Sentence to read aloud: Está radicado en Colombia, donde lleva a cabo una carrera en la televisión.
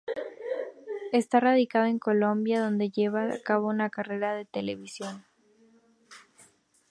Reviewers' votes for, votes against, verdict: 0, 2, rejected